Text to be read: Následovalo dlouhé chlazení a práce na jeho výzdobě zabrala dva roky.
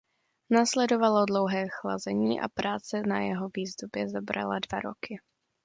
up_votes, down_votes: 2, 0